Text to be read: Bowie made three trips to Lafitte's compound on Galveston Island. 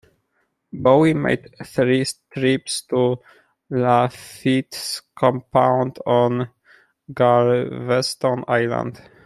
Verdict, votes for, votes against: accepted, 2, 1